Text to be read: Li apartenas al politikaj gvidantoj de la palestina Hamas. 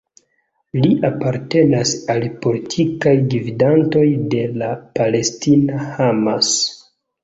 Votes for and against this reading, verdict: 2, 0, accepted